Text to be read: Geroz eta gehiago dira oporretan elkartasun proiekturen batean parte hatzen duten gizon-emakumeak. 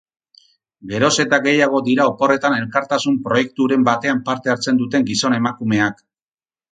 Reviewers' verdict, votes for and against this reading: rejected, 2, 2